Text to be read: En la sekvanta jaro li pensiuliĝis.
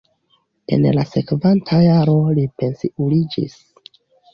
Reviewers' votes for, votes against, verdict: 2, 0, accepted